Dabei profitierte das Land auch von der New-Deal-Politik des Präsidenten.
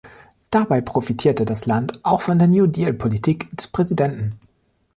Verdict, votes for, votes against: rejected, 1, 2